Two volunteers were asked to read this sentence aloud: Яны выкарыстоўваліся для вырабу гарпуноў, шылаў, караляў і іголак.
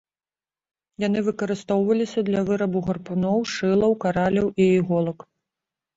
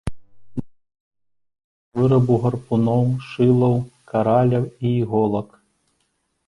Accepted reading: first